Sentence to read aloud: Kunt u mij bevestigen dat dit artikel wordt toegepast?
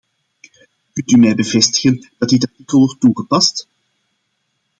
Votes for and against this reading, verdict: 0, 2, rejected